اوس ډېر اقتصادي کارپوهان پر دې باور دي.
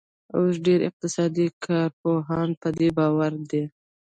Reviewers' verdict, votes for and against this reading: rejected, 1, 2